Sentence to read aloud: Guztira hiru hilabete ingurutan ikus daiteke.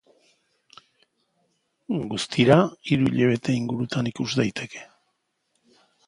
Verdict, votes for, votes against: accepted, 2, 0